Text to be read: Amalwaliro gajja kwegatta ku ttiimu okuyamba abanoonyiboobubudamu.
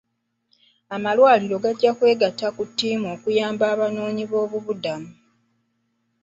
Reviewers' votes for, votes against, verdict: 0, 2, rejected